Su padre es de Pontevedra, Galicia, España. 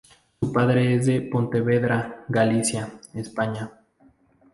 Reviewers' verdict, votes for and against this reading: rejected, 0, 2